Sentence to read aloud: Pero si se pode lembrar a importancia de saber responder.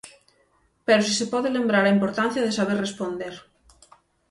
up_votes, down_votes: 9, 0